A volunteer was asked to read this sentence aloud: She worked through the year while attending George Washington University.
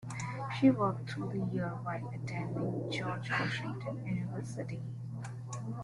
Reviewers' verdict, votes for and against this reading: accepted, 2, 0